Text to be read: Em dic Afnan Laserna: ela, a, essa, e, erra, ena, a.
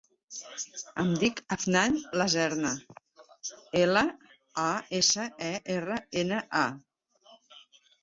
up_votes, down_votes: 0, 2